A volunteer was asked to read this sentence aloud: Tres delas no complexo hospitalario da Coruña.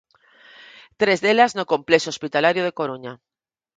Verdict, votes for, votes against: rejected, 0, 4